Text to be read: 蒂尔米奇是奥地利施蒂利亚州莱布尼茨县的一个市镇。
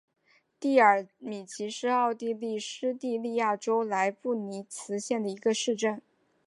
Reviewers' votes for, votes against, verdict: 4, 0, accepted